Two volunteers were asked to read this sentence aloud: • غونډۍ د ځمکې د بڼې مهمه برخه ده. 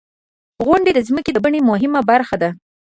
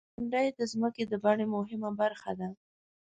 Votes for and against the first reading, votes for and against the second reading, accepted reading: 1, 2, 2, 0, second